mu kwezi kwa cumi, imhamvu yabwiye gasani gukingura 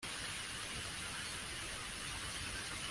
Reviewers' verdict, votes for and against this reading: rejected, 0, 2